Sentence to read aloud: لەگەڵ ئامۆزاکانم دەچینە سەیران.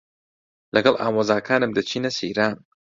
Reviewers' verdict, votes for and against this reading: rejected, 0, 2